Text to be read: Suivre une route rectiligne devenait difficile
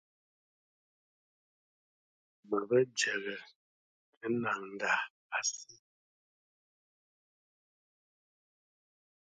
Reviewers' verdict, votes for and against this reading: rejected, 0, 2